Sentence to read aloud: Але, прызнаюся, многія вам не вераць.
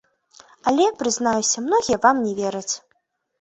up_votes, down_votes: 3, 1